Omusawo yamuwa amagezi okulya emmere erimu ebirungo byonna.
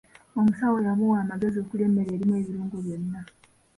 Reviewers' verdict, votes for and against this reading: accepted, 4, 2